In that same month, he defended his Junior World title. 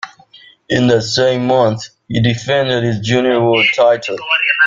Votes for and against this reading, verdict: 1, 2, rejected